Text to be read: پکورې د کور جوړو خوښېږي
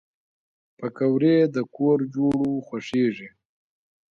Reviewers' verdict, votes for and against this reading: accepted, 2, 0